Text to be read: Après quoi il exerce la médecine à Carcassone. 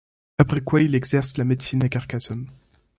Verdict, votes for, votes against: accepted, 2, 0